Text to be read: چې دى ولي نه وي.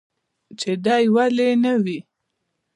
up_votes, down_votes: 0, 2